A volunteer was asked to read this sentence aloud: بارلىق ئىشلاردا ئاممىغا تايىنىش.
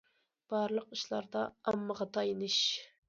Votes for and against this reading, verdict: 2, 0, accepted